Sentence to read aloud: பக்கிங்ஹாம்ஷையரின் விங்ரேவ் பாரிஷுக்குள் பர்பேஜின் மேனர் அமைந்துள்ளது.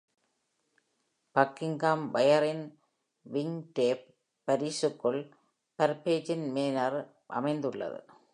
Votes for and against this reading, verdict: 0, 2, rejected